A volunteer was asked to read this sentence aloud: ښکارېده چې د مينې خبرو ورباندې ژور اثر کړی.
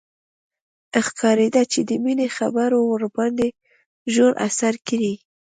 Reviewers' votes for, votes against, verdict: 1, 2, rejected